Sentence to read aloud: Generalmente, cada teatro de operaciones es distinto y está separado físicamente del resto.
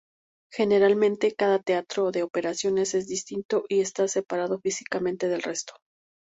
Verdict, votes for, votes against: accepted, 2, 0